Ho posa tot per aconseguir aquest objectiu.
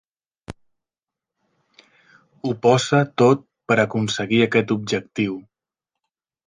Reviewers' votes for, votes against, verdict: 3, 0, accepted